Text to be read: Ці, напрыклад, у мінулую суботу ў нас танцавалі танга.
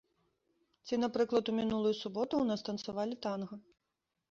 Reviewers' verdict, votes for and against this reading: accepted, 2, 0